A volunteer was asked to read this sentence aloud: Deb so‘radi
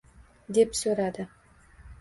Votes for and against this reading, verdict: 2, 0, accepted